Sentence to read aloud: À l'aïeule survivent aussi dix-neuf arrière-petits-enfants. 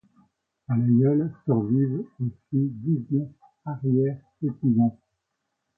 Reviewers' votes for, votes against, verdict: 2, 1, accepted